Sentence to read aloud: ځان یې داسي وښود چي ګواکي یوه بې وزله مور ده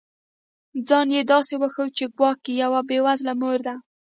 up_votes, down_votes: 2, 1